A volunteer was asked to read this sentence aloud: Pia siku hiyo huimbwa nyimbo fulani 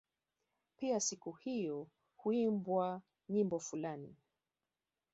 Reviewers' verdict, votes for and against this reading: rejected, 0, 2